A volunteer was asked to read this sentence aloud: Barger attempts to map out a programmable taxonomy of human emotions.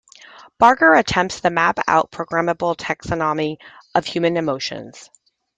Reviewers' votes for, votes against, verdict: 0, 2, rejected